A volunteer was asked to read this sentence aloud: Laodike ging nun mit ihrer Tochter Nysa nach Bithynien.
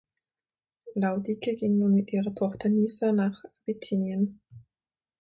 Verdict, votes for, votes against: rejected, 3, 6